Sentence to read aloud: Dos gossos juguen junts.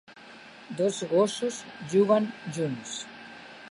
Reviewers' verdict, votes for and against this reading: accepted, 3, 1